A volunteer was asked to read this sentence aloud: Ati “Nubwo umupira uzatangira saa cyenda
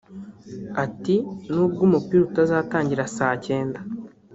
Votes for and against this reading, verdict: 2, 0, accepted